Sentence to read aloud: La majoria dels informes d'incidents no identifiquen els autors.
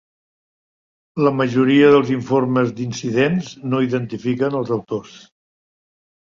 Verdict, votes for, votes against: accepted, 3, 0